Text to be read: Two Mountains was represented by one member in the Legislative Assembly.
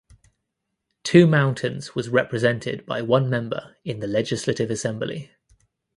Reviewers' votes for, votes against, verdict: 2, 0, accepted